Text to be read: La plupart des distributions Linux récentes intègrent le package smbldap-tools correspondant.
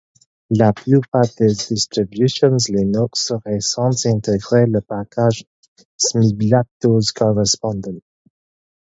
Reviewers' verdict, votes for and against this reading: accepted, 4, 2